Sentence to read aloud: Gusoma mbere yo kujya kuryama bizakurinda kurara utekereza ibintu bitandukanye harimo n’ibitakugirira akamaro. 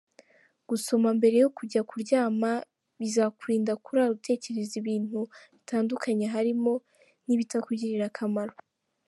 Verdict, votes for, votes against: accepted, 3, 0